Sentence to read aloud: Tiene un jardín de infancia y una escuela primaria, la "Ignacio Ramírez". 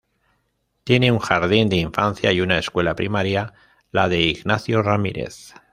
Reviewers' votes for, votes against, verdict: 1, 2, rejected